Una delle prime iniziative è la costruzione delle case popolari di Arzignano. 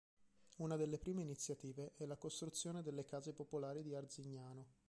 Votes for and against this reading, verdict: 3, 1, accepted